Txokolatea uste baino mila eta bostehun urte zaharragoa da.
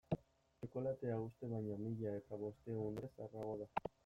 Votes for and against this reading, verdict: 0, 2, rejected